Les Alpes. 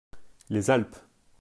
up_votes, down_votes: 2, 0